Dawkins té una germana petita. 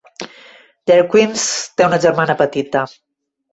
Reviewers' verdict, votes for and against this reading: rejected, 1, 2